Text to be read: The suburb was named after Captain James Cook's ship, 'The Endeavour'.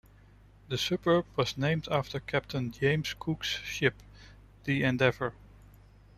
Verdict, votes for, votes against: accepted, 2, 1